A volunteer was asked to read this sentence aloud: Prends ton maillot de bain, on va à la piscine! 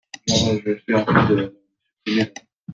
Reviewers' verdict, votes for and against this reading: rejected, 0, 2